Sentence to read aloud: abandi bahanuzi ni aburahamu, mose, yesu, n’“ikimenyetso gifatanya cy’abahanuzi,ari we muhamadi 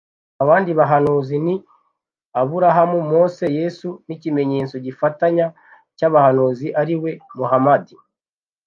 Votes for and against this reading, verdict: 2, 0, accepted